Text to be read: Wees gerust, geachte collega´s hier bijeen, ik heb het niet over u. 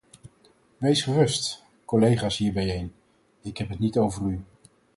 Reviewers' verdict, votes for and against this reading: rejected, 2, 4